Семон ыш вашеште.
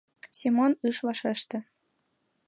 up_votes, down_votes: 3, 1